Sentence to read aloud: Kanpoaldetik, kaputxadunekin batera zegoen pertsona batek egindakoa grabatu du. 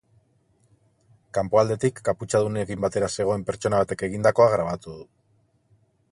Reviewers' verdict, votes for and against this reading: accepted, 2, 0